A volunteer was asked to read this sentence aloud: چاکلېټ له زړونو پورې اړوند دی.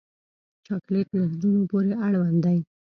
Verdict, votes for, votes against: accepted, 2, 0